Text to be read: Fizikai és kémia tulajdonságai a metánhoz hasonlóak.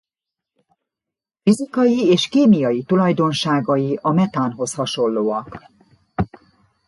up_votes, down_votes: 0, 2